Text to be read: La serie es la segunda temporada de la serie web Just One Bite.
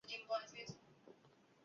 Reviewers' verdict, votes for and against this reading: accepted, 2, 0